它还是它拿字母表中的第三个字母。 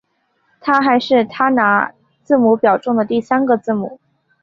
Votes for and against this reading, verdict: 4, 0, accepted